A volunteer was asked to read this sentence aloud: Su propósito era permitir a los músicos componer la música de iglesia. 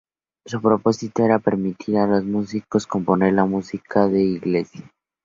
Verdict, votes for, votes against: rejected, 0, 2